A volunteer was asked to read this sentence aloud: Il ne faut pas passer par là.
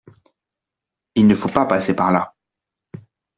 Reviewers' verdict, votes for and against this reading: accepted, 2, 0